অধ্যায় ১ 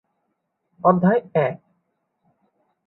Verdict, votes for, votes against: rejected, 0, 2